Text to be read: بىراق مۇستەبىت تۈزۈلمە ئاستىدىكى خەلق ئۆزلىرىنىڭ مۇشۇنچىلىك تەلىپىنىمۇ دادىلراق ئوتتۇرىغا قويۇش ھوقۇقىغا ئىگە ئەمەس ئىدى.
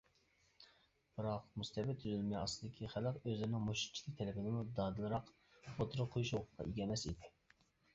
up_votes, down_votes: 0, 2